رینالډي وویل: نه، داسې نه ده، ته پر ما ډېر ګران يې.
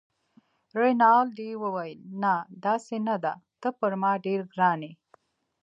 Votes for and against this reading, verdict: 1, 2, rejected